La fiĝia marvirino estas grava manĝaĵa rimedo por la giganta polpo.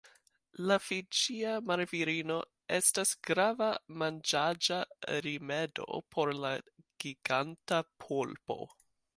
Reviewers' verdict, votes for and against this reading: accepted, 2, 0